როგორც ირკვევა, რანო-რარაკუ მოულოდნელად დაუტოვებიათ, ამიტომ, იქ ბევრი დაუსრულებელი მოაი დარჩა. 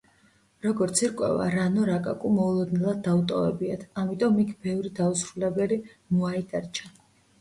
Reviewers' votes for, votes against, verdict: 0, 2, rejected